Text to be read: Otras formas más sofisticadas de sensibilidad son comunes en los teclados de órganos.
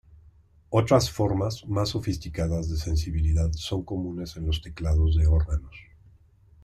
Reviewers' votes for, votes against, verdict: 2, 0, accepted